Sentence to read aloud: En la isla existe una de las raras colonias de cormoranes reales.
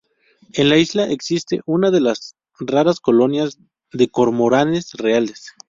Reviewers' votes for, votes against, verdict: 2, 0, accepted